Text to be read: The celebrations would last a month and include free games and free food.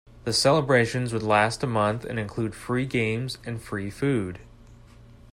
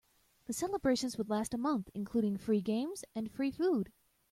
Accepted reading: first